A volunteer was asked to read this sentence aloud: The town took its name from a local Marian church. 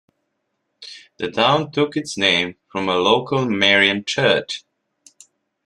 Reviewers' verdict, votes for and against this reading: accepted, 2, 0